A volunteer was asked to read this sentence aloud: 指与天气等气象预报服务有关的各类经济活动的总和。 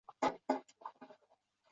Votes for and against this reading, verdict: 0, 2, rejected